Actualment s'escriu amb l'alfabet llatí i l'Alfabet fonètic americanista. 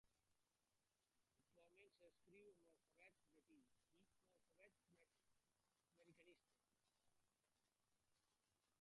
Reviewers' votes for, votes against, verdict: 0, 2, rejected